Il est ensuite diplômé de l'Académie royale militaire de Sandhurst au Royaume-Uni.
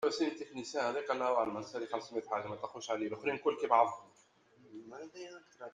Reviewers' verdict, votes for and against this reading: rejected, 0, 2